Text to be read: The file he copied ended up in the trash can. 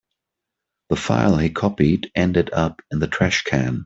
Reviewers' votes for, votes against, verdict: 2, 0, accepted